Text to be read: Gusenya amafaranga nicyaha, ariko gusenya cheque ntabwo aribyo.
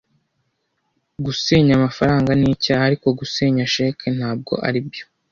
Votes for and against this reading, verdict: 2, 0, accepted